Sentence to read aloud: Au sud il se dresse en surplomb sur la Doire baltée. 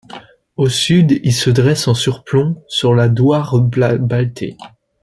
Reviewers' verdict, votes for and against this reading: rejected, 0, 2